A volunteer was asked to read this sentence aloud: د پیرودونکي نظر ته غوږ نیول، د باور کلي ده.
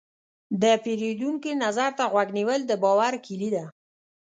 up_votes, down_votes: 2, 0